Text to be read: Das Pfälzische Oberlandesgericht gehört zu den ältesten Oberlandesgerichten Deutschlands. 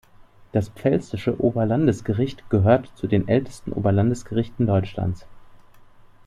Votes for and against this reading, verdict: 2, 0, accepted